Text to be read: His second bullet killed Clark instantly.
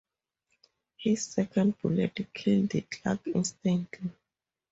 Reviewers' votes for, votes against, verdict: 0, 2, rejected